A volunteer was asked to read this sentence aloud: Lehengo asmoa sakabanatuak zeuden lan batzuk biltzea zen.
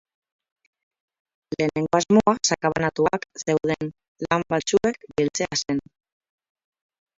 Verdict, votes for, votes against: rejected, 0, 4